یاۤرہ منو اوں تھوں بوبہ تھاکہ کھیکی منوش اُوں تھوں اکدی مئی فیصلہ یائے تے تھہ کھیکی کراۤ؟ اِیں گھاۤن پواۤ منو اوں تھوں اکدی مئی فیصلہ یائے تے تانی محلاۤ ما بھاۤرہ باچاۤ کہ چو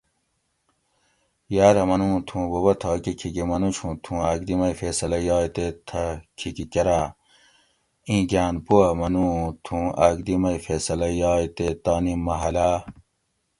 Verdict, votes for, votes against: rejected, 0, 2